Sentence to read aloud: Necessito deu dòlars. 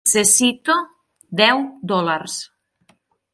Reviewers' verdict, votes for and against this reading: rejected, 0, 6